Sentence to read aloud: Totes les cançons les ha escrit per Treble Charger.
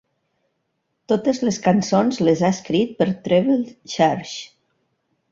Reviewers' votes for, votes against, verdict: 2, 1, accepted